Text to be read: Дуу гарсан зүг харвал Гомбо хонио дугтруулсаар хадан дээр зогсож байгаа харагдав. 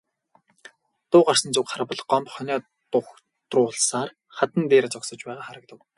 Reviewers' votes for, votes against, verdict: 2, 2, rejected